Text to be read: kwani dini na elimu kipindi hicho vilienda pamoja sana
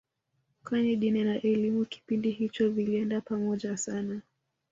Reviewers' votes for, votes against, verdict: 1, 2, rejected